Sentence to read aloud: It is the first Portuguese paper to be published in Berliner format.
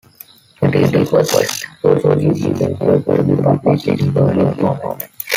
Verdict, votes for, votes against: rejected, 0, 2